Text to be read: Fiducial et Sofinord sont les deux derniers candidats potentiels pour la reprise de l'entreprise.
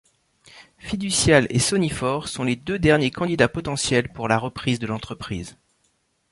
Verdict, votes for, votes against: rejected, 1, 2